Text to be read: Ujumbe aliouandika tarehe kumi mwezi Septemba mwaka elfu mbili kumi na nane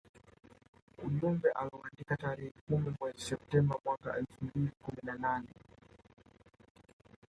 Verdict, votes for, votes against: rejected, 0, 2